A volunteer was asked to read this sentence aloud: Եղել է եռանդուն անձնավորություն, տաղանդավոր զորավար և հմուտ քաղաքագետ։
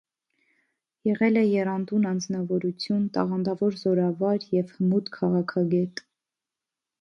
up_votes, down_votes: 2, 0